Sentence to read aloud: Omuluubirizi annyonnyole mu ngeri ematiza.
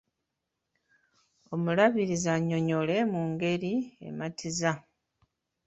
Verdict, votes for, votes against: rejected, 0, 2